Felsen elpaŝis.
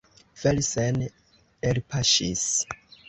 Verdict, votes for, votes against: accepted, 2, 0